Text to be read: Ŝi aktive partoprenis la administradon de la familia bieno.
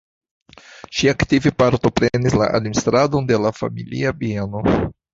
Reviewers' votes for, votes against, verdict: 1, 2, rejected